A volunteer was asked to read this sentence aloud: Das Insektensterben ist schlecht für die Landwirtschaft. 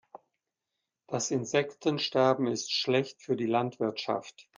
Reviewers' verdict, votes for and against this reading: accepted, 2, 0